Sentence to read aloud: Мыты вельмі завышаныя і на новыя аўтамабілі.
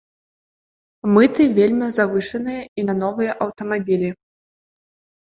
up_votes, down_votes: 2, 0